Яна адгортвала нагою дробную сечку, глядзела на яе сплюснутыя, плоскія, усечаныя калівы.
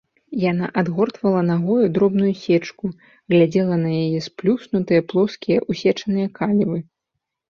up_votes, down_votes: 2, 0